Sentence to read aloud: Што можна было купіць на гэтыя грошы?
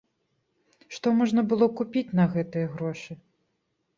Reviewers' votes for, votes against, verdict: 2, 0, accepted